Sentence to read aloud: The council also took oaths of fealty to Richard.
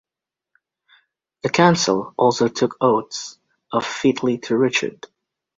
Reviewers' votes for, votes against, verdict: 2, 3, rejected